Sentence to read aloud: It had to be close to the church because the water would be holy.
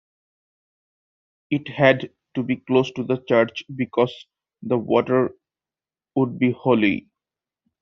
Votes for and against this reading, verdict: 2, 1, accepted